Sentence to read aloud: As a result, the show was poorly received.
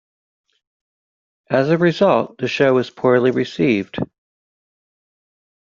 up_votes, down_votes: 2, 0